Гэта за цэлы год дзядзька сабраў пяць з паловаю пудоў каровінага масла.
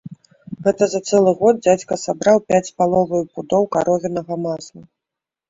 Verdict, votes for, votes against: accepted, 5, 0